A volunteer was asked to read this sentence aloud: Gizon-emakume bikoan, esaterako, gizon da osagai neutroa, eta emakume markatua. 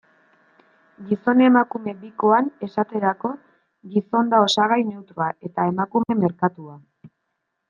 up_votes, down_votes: 1, 2